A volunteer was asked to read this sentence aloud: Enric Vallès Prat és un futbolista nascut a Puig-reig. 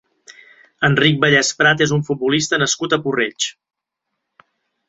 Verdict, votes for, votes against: rejected, 1, 2